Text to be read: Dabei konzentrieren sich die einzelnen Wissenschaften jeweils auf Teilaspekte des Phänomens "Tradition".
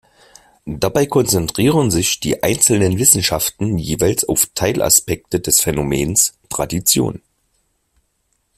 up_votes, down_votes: 2, 1